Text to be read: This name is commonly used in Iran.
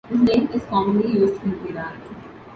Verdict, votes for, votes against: rejected, 0, 2